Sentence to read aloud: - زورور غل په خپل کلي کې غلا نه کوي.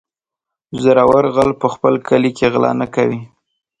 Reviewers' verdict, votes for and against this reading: accepted, 2, 0